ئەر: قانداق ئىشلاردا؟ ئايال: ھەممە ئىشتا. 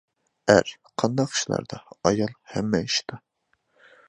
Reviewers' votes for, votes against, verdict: 2, 1, accepted